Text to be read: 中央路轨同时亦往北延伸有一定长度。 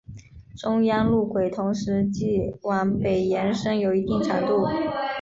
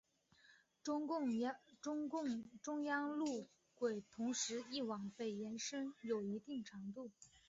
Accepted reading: first